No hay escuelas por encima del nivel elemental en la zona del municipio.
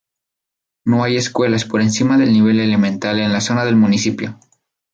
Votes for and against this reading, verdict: 2, 0, accepted